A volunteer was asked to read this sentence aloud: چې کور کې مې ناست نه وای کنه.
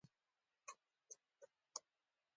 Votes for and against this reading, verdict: 2, 1, accepted